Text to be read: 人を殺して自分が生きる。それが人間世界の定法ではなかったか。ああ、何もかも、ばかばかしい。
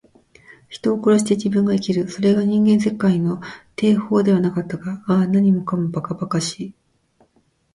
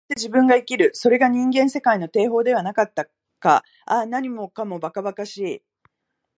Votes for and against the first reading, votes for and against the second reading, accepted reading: 2, 0, 1, 2, first